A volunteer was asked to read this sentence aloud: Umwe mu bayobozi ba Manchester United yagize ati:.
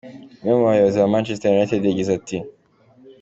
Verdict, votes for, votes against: accepted, 2, 0